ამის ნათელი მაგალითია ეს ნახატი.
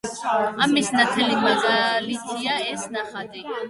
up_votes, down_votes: 1, 2